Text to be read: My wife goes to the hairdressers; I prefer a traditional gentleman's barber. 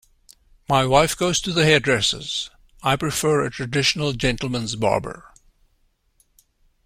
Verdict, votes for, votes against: accepted, 2, 0